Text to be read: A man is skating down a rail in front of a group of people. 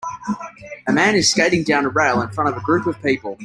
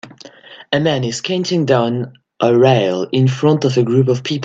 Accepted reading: first